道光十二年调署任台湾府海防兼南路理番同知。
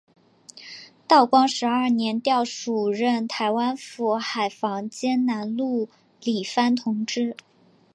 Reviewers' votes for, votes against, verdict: 4, 0, accepted